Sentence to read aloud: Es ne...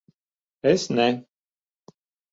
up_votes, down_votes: 2, 0